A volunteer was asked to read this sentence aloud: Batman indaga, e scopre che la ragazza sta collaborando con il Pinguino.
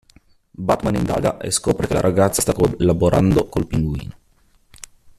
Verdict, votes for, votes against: rejected, 0, 2